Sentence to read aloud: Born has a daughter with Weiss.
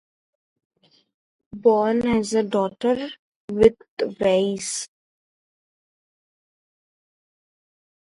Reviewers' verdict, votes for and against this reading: rejected, 0, 2